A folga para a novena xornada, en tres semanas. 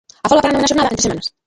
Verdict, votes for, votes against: rejected, 0, 2